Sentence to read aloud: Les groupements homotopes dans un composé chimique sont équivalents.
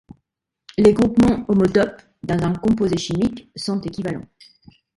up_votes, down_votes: 1, 2